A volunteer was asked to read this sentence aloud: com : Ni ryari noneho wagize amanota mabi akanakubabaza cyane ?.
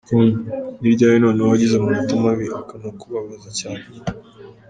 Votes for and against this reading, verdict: 1, 2, rejected